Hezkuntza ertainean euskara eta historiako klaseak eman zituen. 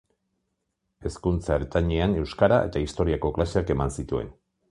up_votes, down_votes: 2, 0